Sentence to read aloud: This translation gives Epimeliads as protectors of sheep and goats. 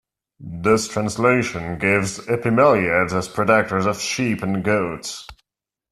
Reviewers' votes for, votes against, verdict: 2, 0, accepted